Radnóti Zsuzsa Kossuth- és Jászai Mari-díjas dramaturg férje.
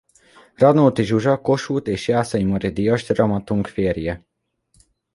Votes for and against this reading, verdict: 0, 2, rejected